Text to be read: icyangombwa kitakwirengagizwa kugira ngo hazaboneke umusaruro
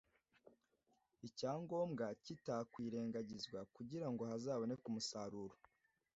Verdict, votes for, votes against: accepted, 2, 0